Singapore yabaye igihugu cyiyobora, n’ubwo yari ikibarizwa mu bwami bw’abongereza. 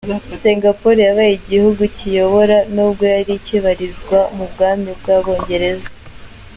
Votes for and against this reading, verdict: 2, 0, accepted